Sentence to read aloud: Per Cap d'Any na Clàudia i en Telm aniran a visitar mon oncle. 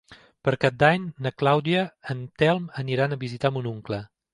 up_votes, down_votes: 0, 2